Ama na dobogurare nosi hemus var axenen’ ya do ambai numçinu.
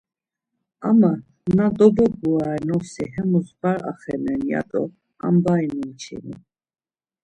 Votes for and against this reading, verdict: 3, 0, accepted